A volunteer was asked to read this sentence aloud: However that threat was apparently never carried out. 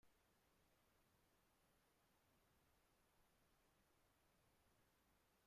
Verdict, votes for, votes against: rejected, 1, 2